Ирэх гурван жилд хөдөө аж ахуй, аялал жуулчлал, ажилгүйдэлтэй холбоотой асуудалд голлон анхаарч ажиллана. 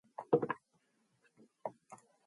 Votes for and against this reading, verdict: 0, 2, rejected